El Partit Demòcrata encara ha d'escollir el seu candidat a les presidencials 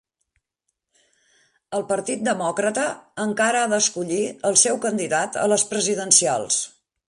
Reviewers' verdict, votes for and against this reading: accepted, 3, 0